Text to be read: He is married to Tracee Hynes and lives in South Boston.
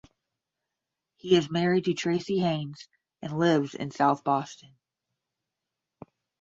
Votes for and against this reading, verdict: 10, 0, accepted